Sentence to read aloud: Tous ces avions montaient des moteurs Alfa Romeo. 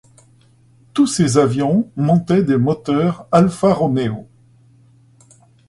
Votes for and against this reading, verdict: 2, 0, accepted